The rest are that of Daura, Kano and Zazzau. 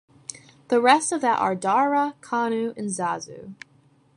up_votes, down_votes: 0, 2